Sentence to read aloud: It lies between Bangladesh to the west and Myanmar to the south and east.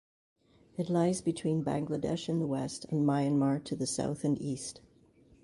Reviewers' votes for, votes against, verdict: 0, 2, rejected